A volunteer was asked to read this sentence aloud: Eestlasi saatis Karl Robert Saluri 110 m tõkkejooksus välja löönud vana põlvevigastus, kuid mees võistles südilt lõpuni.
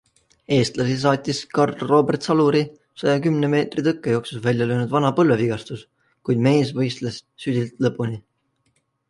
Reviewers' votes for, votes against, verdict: 0, 2, rejected